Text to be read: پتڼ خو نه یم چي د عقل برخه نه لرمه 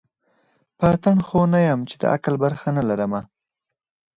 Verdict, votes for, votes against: accepted, 4, 0